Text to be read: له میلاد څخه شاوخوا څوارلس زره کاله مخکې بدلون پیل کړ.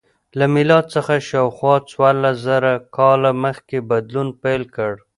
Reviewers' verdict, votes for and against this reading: accepted, 2, 0